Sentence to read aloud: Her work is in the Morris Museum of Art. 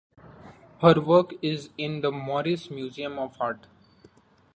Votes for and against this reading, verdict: 2, 0, accepted